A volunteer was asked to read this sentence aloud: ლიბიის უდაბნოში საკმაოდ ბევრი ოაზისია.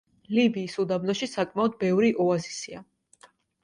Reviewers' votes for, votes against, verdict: 2, 0, accepted